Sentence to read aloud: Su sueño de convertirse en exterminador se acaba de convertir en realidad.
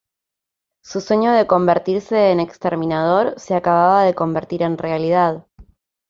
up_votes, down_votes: 0, 2